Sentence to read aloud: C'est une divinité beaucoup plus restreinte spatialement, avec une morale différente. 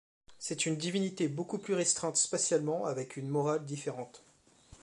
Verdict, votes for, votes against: accepted, 2, 0